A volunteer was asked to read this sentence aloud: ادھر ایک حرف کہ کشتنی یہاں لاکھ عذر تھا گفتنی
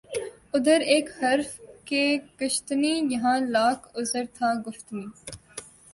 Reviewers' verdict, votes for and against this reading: accepted, 2, 0